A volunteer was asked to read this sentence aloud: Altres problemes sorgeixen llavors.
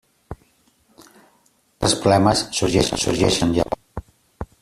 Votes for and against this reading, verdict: 0, 2, rejected